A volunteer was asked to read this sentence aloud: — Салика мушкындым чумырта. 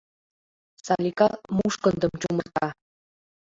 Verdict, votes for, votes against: accepted, 2, 0